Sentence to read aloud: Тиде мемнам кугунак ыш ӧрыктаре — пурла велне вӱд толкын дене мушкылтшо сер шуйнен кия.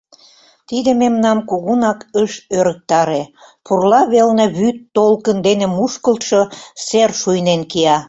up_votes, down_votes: 2, 0